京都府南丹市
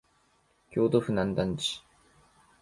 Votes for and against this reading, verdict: 2, 1, accepted